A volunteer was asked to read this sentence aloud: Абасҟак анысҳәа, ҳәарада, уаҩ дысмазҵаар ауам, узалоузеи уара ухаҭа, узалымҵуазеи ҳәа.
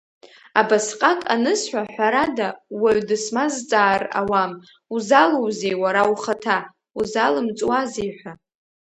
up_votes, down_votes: 0, 2